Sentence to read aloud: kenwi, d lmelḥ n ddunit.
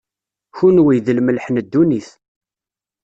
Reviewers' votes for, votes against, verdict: 2, 0, accepted